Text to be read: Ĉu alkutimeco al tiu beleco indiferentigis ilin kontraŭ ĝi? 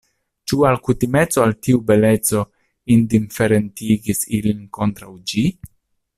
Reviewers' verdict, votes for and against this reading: accepted, 2, 0